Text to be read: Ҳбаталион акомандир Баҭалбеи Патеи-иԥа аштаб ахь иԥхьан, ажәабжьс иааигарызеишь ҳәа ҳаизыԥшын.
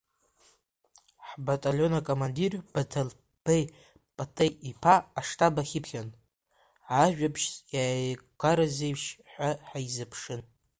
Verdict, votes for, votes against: rejected, 0, 2